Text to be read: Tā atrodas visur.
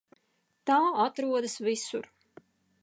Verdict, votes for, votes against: accepted, 2, 0